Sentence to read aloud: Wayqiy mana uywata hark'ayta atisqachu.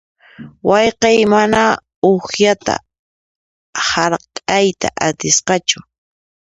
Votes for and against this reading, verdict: 1, 2, rejected